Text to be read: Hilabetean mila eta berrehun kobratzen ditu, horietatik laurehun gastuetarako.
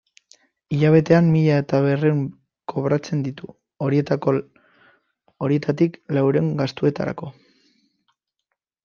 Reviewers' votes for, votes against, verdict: 0, 3, rejected